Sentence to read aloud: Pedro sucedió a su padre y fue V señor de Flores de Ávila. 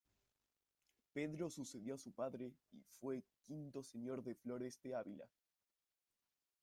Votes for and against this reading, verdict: 1, 2, rejected